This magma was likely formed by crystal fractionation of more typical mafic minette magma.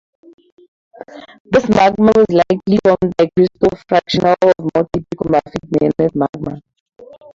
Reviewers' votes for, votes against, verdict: 0, 2, rejected